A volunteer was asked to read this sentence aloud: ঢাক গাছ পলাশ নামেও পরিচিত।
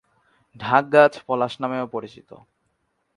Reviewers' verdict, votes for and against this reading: accepted, 4, 0